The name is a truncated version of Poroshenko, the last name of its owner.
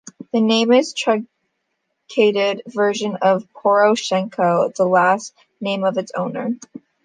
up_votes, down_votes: 0, 2